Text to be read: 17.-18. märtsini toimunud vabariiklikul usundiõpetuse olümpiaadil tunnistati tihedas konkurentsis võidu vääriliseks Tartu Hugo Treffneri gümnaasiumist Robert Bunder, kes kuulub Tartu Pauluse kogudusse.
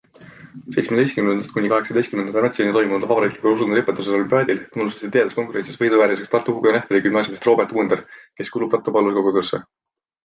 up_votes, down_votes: 0, 2